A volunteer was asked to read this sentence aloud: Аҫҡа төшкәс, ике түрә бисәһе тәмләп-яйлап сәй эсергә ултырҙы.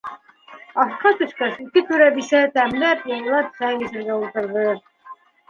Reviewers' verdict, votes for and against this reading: rejected, 0, 2